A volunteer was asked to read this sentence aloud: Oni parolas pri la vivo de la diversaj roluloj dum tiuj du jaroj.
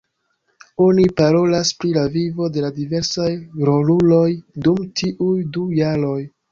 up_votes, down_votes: 2, 1